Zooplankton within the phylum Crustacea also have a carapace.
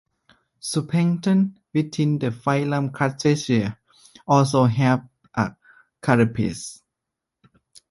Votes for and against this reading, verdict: 2, 0, accepted